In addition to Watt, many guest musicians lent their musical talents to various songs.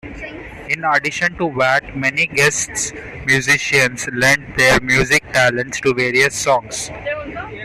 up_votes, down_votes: 1, 2